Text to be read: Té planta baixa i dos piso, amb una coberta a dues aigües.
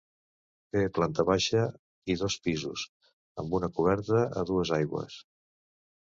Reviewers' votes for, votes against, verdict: 0, 3, rejected